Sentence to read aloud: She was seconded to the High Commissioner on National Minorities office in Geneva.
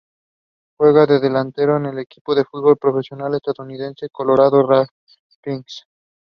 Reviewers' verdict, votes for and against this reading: rejected, 0, 2